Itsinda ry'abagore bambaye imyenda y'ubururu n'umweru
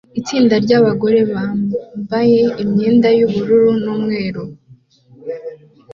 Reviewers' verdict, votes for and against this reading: accepted, 2, 0